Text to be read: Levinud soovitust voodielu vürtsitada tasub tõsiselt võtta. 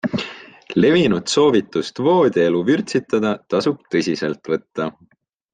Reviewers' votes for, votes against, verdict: 3, 0, accepted